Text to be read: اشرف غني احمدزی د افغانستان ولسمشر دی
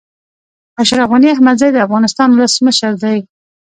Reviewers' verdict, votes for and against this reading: rejected, 0, 2